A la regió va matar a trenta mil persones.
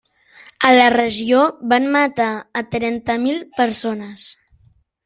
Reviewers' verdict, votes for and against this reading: rejected, 0, 2